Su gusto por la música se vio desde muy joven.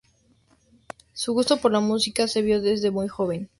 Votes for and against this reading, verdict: 2, 0, accepted